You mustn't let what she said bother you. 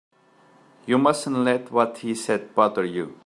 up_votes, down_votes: 0, 2